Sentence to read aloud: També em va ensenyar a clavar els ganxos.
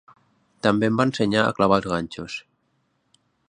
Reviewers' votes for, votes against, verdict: 6, 0, accepted